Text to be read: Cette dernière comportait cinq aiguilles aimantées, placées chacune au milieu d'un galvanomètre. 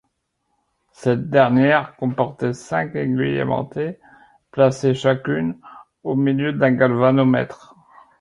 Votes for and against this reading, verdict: 3, 0, accepted